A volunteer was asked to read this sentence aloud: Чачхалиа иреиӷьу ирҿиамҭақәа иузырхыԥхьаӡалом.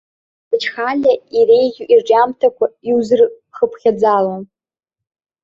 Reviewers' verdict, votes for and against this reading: rejected, 0, 2